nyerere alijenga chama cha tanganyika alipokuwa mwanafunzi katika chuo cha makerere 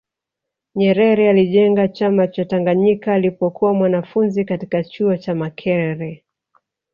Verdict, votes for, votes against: rejected, 0, 2